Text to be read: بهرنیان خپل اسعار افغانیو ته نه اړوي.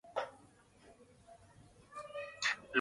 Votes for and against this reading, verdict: 1, 2, rejected